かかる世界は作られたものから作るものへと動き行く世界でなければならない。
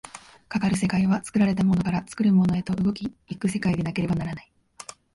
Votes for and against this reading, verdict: 2, 0, accepted